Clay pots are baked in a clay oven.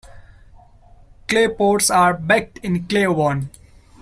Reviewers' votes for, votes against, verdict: 1, 2, rejected